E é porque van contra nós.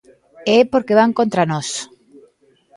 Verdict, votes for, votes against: rejected, 1, 2